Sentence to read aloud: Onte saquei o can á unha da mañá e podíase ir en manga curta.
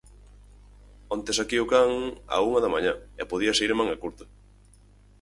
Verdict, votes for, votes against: accepted, 4, 0